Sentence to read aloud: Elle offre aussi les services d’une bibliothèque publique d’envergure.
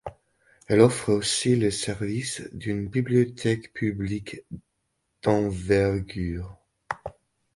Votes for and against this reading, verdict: 3, 1, accepted